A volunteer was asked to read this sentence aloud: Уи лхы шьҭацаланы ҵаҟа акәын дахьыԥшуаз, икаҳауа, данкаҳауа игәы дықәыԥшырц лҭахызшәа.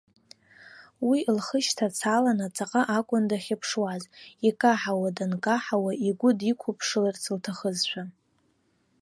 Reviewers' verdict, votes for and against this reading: rejected, 1, 2